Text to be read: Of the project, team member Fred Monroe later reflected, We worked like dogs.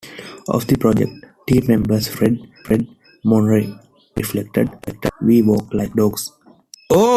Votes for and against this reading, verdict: 2, 1, accepted